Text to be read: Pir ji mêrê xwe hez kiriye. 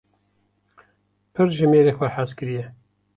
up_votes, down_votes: 2, 0